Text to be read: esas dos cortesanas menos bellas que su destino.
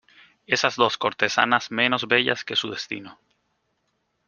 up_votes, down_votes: 3, 0